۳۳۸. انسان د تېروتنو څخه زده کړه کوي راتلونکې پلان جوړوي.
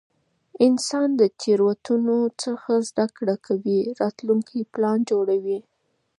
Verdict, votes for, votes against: rejected, 0, 2